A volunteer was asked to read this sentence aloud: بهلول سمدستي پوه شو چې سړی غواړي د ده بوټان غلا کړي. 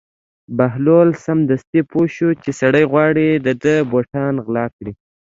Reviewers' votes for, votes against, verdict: 2, 0, accepted